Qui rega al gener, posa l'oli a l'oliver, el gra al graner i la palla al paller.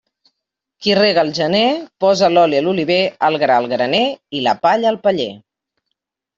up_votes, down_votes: 2, 0